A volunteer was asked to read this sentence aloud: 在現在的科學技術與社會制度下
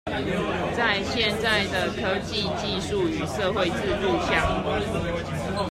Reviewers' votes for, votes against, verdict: 0, 2, rejected